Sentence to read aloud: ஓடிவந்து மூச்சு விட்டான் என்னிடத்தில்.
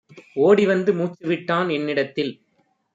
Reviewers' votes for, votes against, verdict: 2, 1, accepted